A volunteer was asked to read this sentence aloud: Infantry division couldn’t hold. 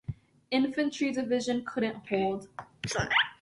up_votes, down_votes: 1, 2